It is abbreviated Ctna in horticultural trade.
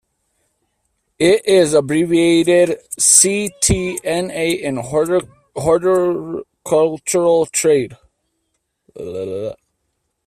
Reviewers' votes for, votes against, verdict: 0, 2, rejected